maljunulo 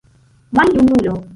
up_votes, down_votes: 0, 2